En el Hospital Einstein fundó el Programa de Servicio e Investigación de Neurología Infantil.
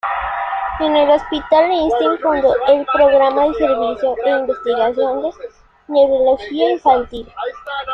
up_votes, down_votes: 1, 2